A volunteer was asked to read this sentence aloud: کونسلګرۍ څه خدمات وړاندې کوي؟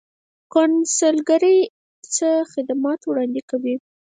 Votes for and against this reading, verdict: 0, 4, rejected